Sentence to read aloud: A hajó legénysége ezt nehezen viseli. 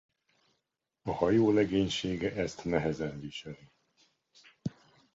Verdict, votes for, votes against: rejected, 0, 2